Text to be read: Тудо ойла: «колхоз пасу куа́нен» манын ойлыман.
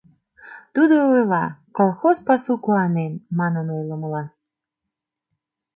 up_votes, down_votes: 0, 2